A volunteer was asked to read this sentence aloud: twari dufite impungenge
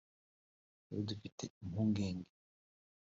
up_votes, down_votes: 1, 2